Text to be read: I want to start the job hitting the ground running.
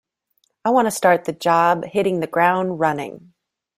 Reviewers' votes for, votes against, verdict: 0, 2, rejected